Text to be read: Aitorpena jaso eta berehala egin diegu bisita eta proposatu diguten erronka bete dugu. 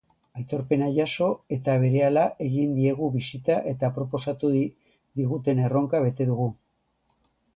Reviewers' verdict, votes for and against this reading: rejected, 0, 2